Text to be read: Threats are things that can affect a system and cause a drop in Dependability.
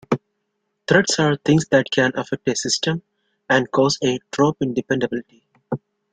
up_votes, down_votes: 1, 2